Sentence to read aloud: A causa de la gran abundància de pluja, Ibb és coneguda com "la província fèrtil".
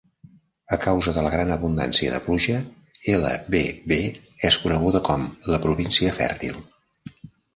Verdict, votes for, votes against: rejected, 0, 2